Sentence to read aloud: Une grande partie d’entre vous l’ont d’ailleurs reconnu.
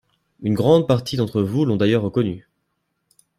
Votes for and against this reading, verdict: 2, 0, accepted